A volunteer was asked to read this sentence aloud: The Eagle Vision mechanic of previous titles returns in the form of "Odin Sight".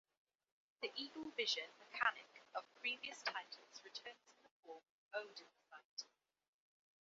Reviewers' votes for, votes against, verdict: 1, 2, rejected